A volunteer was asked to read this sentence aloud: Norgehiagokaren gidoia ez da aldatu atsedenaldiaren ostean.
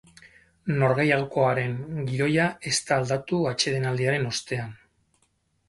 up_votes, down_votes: 0, 4